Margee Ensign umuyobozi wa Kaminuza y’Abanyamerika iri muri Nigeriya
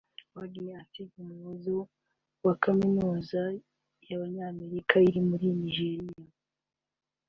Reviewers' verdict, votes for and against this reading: accepted, 2, 0